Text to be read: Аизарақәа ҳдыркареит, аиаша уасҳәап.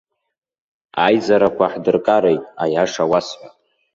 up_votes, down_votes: 2, 1